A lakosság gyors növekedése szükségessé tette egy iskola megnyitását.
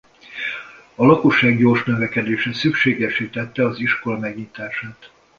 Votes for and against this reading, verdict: 1, 2, rejected